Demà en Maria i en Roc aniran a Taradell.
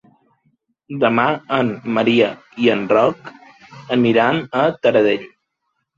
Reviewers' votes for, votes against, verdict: 3, 0, accepted